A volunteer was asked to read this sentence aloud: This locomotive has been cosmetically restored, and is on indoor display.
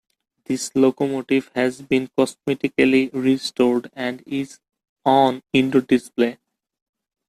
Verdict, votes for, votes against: accepted, 2, 0